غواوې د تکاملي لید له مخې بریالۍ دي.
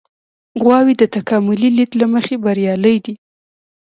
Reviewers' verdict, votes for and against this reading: rejected, 1, 2